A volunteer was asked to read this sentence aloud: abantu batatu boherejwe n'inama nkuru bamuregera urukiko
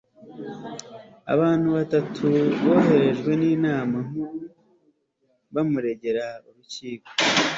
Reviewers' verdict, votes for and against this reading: accepted, 2, 0